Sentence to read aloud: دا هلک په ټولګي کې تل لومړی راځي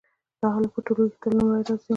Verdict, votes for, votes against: accepted, 2, 0